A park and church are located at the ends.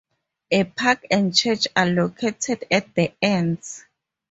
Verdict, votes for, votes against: accepted, 2, 0